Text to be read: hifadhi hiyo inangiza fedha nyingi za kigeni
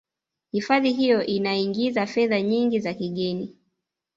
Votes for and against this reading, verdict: 0, 2, rejected